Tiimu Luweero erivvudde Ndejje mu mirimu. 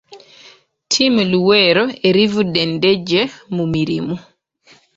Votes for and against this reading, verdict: 2, 1, accepted